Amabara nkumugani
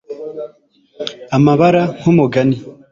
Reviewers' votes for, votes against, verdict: 3, 0, accepted